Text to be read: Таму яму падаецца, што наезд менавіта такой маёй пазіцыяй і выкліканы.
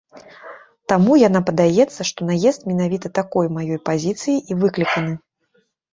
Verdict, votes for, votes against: rejected, 1, 2